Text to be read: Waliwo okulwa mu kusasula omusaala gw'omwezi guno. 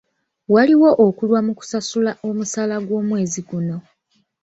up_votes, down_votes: 1, 2